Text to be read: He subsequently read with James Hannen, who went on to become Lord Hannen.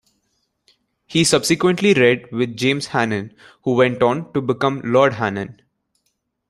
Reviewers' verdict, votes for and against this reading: rejected, 1, 2